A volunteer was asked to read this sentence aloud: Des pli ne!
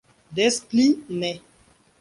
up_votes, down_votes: 2, 0